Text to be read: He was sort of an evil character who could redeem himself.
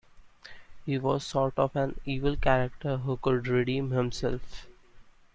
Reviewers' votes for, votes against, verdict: 2, 0, accepted